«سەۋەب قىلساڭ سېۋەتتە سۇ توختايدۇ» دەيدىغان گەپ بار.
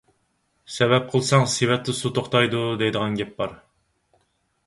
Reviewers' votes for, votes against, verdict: 4, 0, accepted